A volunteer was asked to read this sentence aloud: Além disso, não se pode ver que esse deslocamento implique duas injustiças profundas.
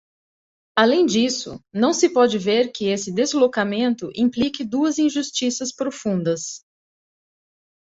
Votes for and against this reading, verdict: 2, 0, accepted